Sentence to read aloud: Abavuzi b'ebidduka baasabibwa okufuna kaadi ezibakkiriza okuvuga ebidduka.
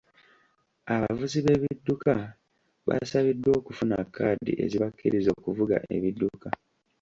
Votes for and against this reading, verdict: 2, 1, accepted